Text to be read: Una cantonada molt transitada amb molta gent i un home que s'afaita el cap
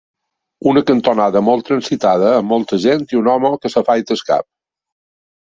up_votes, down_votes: 1, 2